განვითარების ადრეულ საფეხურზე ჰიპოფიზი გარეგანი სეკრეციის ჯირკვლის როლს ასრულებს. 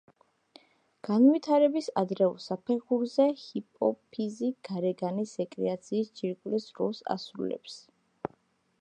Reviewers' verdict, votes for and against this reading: rejected, 0, 2